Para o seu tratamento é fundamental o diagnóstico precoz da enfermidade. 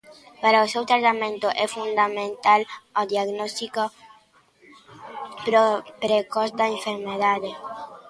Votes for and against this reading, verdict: 0, 2, rejected